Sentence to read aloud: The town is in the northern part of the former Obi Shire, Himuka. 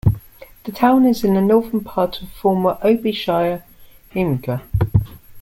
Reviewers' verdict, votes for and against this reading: accepted, 2, 1